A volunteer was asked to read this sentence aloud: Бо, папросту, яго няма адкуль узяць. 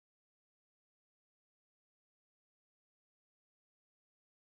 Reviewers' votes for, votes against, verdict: 0, 3, rejected